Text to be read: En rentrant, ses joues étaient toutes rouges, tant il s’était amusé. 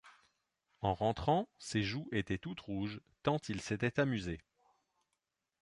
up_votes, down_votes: 2, 0